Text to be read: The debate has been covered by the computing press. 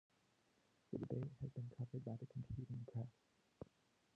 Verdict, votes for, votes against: rejected, 0, 2